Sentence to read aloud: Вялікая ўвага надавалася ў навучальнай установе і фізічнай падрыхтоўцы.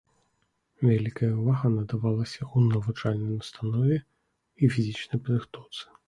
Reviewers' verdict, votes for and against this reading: accepted, 2, 0